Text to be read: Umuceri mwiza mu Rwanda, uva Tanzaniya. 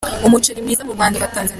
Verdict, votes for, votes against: rejected, 0, 2